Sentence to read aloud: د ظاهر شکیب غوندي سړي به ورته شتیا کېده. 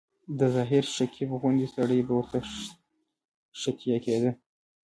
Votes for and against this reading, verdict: 0, 2, rejected